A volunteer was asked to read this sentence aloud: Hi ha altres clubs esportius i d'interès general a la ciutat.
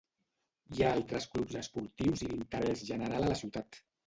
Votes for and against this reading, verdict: 1, 2, rejected